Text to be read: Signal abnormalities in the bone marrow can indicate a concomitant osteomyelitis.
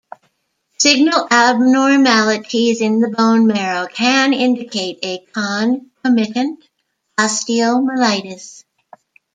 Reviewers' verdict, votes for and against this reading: rejected, 0, 2